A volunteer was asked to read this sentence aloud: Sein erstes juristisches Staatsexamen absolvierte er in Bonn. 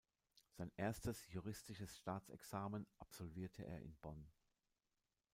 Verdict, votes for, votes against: accepted, 2, 0